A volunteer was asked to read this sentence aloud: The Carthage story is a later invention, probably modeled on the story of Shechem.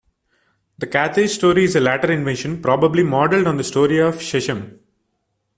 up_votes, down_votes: 1, 2